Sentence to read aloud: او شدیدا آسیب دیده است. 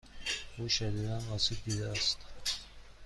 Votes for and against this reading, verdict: 2, 0, accepted